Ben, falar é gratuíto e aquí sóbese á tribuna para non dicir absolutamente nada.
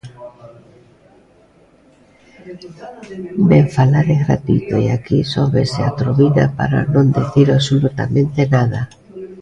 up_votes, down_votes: 0, 2